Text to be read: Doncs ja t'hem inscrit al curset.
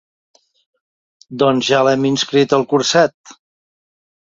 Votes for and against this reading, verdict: 1, 2, rejected